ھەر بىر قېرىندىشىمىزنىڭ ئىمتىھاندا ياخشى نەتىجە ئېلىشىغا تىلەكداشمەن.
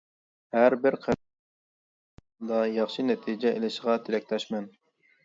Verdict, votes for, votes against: rejected, 0, 2